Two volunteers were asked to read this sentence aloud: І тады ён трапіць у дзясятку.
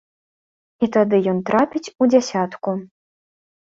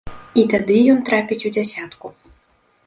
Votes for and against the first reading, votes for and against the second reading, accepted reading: 2, 0, 1, 2, first